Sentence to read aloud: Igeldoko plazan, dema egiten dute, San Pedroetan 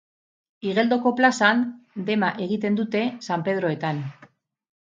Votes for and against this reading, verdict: 2, 0, accepted